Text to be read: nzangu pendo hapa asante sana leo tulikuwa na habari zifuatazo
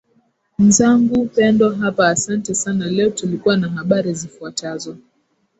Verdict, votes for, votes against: accepted, 3, 0